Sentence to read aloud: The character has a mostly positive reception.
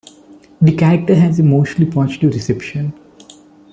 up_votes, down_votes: 2, 0